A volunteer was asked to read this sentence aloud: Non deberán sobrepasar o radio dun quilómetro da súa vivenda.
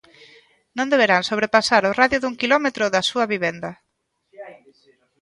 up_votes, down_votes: 1, 2